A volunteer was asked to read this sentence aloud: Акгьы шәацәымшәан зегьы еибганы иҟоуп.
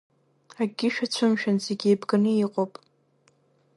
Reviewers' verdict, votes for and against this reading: accepted, 2, 0